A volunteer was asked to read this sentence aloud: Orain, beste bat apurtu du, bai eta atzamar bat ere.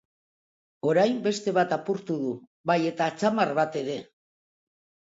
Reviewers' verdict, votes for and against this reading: accepted, 2, 0